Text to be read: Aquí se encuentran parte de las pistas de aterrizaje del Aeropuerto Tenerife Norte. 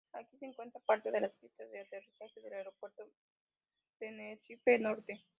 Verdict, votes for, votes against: rejected, 0, 2